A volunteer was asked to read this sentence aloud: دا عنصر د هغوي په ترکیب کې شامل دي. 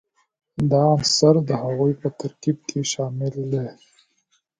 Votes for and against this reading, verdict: 2, 0, accepted